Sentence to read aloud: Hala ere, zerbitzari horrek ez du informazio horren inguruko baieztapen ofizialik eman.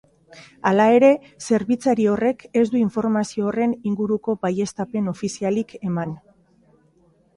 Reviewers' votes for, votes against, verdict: 2, 0, accepted